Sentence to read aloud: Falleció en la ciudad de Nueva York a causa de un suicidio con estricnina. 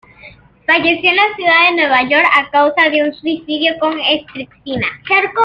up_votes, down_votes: 2, 0